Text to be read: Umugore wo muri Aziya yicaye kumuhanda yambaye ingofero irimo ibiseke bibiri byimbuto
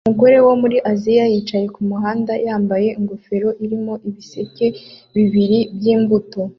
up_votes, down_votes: 2, 0